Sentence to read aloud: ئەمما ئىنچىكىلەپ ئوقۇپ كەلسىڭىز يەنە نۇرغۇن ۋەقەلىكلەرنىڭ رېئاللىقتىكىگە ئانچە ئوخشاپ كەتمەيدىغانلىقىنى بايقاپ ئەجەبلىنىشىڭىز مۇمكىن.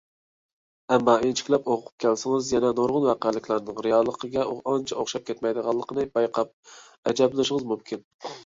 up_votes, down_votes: 0, 2